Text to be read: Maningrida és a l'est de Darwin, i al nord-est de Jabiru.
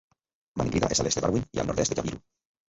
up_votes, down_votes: 0, 2